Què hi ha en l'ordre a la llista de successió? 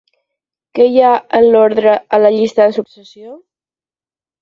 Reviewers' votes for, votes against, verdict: 10, 0, accepted